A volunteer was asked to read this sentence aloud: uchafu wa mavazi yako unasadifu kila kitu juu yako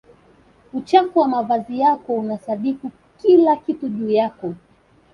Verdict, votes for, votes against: accepted, 2, 0